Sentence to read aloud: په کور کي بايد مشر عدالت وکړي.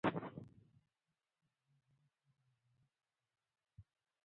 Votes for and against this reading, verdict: 0, 2, rejected